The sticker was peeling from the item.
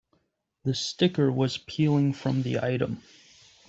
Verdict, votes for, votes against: accepted, 3, 0